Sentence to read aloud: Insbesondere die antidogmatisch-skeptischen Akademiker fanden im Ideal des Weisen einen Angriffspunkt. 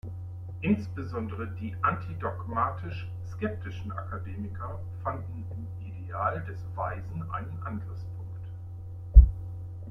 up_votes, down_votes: 1, 2